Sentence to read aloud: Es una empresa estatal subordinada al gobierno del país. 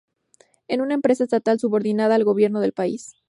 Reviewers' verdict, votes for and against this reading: rejected, 0, 2